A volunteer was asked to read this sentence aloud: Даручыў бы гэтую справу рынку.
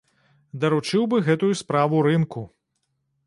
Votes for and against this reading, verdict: 2, 0, accepted